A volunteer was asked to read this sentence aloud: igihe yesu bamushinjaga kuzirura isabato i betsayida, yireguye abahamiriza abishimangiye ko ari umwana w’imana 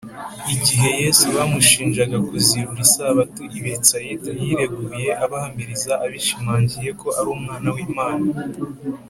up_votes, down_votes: 2, 0